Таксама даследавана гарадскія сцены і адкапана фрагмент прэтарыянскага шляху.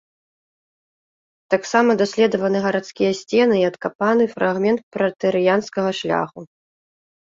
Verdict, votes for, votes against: rejected, 1, 2